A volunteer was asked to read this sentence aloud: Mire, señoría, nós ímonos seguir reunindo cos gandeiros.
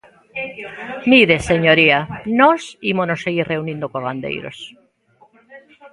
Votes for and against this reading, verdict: 2, 1, accepted